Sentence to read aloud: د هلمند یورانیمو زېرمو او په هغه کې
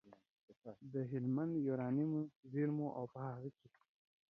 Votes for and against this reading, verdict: 1, 2, rejected